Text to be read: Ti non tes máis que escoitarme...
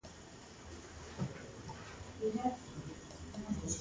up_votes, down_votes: 0, 3